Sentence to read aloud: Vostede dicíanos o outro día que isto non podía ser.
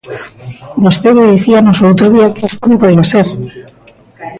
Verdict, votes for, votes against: rejected, 1, 2